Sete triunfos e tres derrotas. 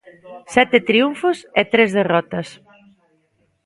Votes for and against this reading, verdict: 1, 2, rejected